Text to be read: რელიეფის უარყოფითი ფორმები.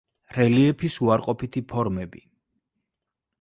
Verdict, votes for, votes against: accepted, 2, 0